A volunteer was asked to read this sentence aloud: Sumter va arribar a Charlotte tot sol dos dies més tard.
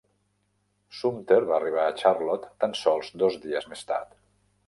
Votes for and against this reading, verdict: 0, 2, rejected